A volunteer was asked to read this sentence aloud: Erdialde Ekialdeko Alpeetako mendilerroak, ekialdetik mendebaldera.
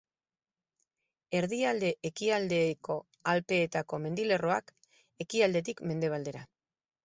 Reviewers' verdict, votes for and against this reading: accepted, 4, 0